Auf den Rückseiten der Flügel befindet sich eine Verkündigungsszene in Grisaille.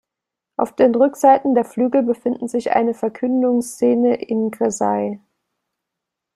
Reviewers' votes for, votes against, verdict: 0, 2, rejected